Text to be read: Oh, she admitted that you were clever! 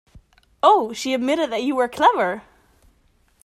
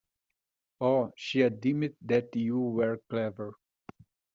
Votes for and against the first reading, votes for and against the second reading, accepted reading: 2, 0, 1, 2, first